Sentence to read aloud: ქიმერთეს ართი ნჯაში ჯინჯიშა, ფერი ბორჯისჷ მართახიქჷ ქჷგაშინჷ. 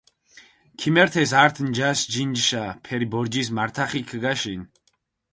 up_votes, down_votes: 4, 0